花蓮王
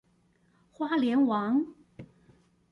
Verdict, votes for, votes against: accepted, 2, 0